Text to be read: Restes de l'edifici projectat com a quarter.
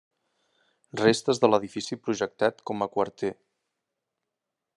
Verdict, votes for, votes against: rejected, 1, 2